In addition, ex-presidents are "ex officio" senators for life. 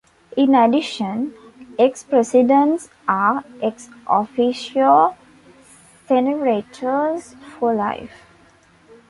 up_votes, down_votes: 1, 2